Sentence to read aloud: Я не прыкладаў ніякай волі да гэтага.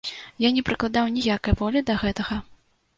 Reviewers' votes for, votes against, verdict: 2, 0, accepted